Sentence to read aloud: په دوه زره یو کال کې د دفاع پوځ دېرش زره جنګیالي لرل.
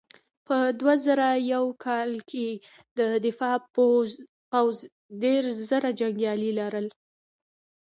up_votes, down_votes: 1, 2